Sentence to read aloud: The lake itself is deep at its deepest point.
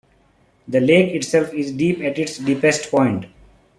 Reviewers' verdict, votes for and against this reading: accepted, 2, 0